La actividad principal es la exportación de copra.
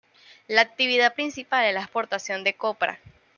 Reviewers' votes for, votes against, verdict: 2, 0, accepted